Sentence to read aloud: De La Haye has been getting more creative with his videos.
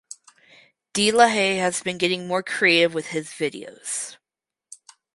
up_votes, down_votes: 4, 0